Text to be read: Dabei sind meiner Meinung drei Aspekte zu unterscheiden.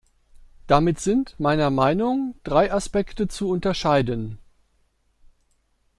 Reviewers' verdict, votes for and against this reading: rejected, 1, 2